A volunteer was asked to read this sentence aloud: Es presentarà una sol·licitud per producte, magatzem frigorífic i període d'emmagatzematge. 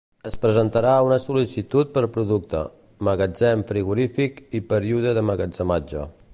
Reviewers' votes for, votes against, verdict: 0, 2, rejected